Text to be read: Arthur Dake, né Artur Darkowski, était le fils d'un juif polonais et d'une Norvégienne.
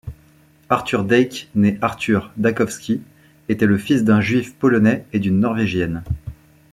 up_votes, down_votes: 0, 2